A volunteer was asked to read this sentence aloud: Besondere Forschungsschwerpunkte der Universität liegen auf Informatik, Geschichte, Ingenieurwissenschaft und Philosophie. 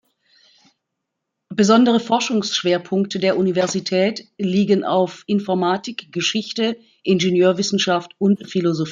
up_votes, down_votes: 0, 2